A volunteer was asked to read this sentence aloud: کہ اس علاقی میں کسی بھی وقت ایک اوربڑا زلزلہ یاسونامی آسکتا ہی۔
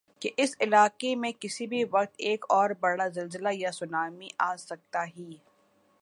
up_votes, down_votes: 2, 1